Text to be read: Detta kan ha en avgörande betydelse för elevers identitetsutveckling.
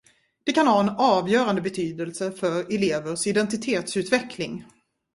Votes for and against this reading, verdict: 0, 2, rejected